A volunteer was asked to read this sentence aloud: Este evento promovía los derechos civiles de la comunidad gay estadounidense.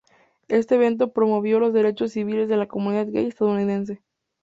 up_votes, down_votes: 0, 2